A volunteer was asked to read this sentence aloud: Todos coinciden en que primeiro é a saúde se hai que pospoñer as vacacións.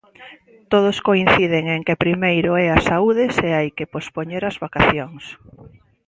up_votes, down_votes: 2, 0